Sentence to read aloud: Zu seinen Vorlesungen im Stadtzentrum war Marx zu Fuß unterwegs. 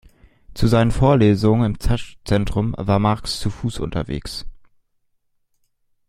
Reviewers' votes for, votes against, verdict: 0, 2, rejected